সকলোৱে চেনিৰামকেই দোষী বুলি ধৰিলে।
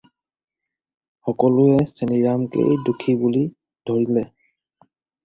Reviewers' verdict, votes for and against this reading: accepted, 4, 0